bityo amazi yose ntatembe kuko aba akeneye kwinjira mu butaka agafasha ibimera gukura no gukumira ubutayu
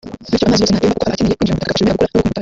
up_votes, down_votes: 0, 2